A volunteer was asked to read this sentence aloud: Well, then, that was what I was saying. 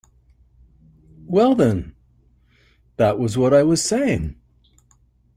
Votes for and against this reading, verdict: 2, 0, accepted